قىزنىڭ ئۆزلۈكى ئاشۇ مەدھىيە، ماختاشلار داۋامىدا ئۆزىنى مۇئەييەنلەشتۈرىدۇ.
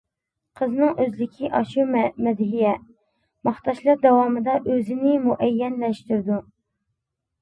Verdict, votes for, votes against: rejected, 1, 2